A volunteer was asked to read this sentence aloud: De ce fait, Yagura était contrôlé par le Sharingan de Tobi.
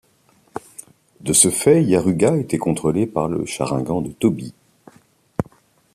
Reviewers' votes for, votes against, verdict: 0, 2, rejected